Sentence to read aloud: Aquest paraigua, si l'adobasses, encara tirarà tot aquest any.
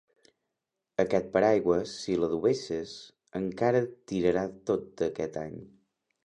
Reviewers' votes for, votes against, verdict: 1, 2, rejected